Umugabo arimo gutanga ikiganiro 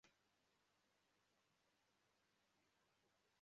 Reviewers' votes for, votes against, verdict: 1, 2, rejected